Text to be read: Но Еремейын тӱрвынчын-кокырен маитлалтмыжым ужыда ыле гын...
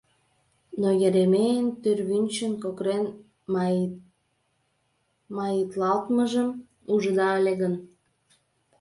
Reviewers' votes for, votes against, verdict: 1, 2, rejected